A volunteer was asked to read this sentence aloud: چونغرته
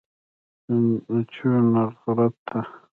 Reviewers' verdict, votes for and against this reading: rejected, 0, 2